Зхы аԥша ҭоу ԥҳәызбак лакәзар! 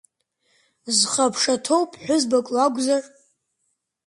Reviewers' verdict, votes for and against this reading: accepted, 3, 0